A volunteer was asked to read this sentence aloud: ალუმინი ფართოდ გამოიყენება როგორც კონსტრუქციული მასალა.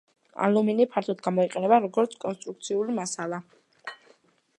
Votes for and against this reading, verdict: 2, 0, accepted